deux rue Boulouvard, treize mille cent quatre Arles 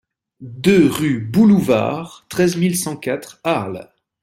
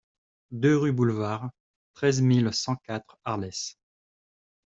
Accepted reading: first